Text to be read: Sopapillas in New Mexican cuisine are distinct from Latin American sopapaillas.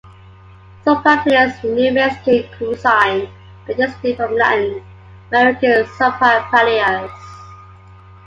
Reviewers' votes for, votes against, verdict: 0, 2, rejected